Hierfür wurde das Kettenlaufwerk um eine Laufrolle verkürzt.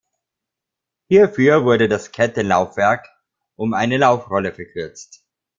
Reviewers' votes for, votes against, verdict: 2, 1, accepted